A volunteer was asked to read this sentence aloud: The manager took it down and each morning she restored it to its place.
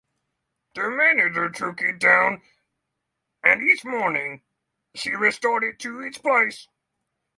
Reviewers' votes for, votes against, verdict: 6, 3, accepted